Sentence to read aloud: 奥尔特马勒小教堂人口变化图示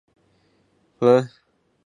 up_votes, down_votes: 1, 2